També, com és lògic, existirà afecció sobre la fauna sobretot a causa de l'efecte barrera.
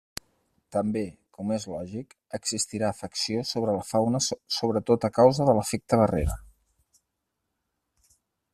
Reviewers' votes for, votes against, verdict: 0, 4, rejected